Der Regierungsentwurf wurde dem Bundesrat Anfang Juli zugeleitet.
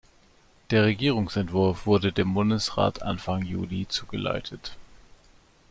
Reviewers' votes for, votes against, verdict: 2, 1, accepted